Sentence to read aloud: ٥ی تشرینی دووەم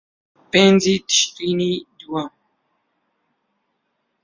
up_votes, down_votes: 0, 2